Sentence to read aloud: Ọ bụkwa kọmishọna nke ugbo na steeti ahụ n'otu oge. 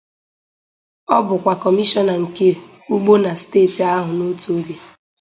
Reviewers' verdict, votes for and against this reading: accepted, 4, 0